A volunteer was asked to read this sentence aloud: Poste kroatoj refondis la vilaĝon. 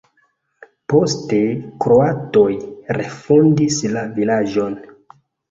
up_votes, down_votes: 2, 1